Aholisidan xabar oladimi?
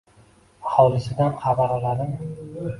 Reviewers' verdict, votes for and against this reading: rejected, 1, 2